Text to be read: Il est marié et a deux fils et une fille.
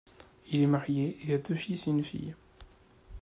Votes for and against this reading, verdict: 2, 0, accepted